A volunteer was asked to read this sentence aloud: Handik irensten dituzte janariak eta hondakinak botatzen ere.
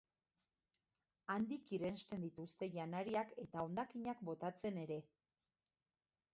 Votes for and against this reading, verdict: 1, 2, rejected